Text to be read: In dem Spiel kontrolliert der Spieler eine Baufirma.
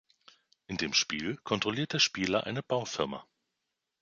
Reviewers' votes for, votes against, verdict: 2, 0, accepted